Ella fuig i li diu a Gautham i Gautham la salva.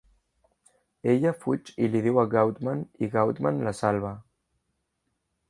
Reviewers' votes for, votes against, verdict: 0, 2, rejected